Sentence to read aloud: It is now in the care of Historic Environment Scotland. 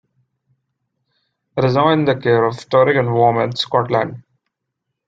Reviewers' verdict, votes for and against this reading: rejected, 0, 2